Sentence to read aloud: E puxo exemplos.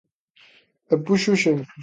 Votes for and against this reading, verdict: 3, 0, accepted